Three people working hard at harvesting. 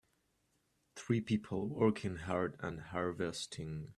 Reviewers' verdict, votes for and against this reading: rejected, 0, 2